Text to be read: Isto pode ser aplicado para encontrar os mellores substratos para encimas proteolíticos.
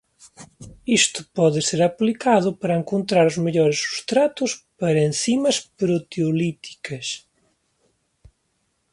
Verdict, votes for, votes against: rejected, 0, 3